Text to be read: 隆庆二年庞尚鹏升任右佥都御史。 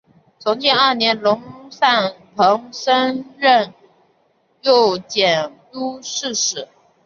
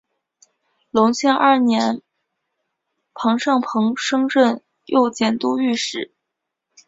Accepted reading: second